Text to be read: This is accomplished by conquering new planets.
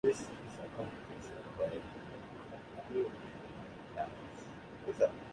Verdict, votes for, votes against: rejected, 0, 2